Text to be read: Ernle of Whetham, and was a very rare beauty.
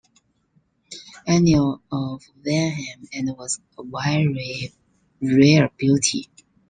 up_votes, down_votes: 0, 2